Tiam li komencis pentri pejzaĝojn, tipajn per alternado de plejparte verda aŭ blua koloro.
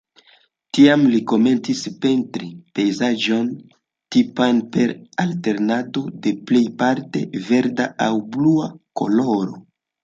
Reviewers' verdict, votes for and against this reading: accepted, 2, 0